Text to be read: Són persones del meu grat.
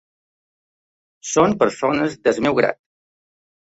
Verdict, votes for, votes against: rejected, 1, 2